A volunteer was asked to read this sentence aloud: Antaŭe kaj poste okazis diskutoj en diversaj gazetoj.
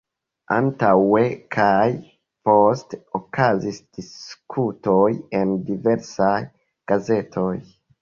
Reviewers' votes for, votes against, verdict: 0, 2, rejected